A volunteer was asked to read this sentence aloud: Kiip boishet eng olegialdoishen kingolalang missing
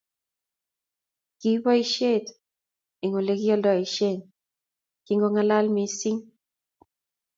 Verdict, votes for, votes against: rejected, 0, 2